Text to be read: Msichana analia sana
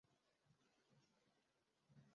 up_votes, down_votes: 0, 2